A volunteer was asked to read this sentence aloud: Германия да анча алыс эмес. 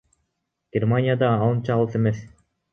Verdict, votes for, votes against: rejected, 1, 2